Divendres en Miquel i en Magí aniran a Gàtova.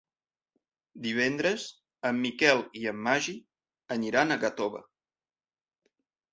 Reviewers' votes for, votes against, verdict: 1, 2, rejected